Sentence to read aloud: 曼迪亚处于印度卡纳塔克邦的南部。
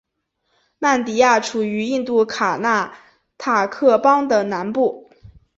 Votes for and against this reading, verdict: 2, 0, accepted